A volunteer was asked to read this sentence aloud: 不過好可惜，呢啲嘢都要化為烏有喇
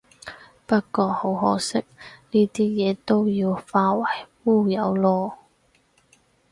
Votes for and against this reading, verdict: 0, 4, rejected